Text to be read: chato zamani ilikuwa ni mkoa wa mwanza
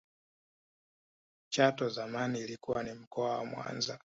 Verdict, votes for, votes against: accepted, 2, 1